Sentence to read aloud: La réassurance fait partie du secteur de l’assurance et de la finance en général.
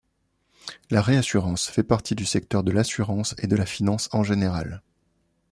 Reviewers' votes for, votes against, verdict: 2, 0, accepted